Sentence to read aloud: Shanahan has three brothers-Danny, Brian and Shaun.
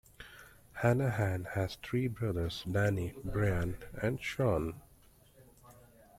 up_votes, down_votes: 1, 2